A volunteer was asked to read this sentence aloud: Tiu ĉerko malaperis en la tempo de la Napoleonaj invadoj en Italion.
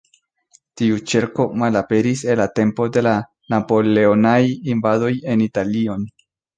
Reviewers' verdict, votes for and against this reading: accepted, 2, 0